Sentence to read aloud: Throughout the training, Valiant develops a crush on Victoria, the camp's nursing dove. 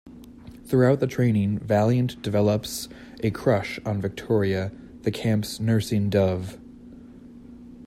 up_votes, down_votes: 2, 0